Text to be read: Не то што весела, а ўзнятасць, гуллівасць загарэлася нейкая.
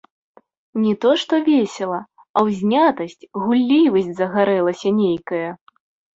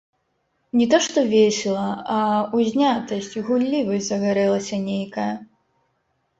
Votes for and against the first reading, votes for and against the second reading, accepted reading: 2, 0, 1, 3, first